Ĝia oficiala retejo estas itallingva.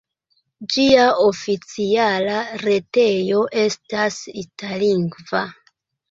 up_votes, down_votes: 1, 3